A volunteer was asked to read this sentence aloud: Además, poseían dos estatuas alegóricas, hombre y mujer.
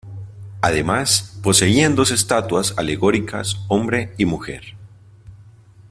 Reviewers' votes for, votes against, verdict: 2, 0, accepted